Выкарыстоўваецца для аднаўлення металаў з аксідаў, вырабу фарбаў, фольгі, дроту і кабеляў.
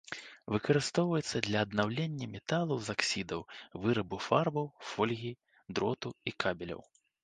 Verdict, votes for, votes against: accepted, 2, 0